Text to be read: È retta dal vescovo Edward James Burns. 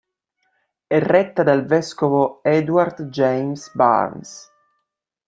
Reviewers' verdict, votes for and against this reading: rejected, 0, 2